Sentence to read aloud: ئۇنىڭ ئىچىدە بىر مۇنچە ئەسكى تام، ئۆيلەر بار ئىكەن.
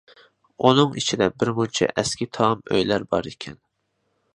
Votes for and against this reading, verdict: 2, 0, accepted